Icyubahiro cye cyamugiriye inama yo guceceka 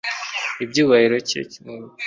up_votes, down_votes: 1, 3